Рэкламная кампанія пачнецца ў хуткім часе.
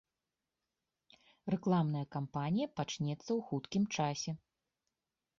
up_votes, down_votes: 2, 0